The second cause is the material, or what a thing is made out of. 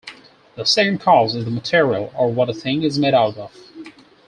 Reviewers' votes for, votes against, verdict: 4, 0, accepted